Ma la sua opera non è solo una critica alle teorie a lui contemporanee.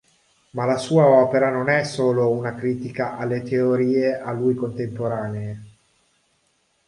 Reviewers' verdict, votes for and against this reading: accepted, 3, 0